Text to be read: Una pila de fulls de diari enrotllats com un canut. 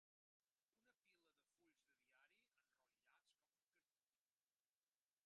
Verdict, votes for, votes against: rejected, 0, 3